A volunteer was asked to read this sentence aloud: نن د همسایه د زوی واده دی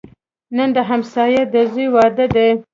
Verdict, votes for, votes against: rejected, 1, 2